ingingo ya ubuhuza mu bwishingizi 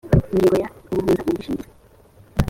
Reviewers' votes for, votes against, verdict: 0, 2, rejected